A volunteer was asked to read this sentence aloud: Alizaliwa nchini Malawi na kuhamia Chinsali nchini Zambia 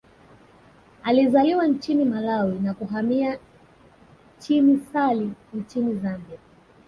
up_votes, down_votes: 1, 2